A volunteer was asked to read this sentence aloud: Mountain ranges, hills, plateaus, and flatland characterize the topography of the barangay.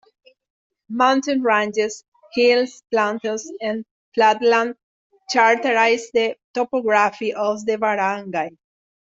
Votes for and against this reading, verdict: 2, 0, accepted